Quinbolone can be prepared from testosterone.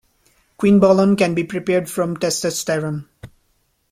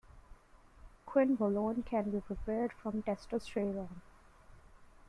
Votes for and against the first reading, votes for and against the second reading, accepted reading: 0, 2, 2, 1, second